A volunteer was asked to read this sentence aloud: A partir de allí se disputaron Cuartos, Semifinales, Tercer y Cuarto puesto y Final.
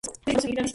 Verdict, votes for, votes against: rejected, 2, 4